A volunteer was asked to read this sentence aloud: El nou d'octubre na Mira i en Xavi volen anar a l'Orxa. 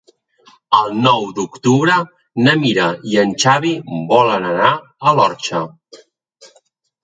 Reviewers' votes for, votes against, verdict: 5, 1, accepted